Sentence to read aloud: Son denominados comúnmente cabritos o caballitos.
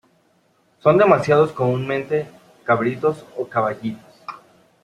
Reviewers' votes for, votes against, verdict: 0, 2, rejected